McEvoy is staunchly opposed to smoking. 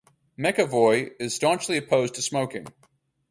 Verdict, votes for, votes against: accepted, 4, 0